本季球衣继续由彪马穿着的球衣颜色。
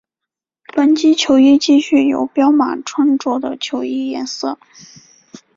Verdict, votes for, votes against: accepted, 4, 0